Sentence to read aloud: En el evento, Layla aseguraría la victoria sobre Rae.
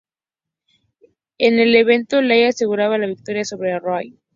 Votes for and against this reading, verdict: 4, 0, accepted